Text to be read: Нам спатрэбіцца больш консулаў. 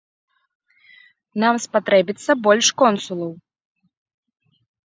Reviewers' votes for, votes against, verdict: 2, 0, accepted